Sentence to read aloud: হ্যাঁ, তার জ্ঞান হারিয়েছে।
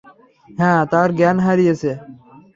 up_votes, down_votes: 3, 0